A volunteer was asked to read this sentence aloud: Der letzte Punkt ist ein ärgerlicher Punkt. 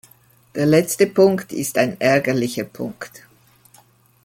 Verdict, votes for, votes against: accepted, 2, 0